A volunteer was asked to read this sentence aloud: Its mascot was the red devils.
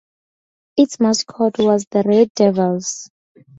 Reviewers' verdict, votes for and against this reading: rejected, 0, 2